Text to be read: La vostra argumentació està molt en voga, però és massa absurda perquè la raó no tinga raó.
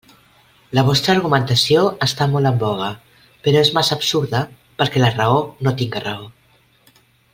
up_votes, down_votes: 2, 0